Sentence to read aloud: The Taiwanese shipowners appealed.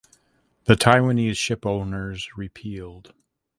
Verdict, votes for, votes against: rejected, 0, 2